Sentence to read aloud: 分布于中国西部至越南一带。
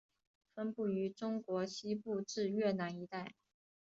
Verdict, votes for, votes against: accepted, 2, 1